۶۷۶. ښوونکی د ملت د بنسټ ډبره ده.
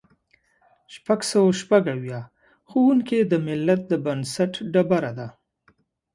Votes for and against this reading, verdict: 0, 2, rejected